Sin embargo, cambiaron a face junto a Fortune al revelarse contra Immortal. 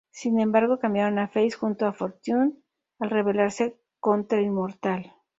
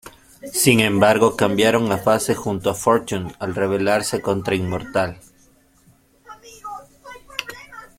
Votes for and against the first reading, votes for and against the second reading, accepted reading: 4, 0, 0, 2, first